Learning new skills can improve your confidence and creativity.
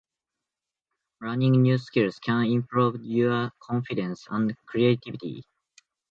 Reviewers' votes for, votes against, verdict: 2, 0, accepted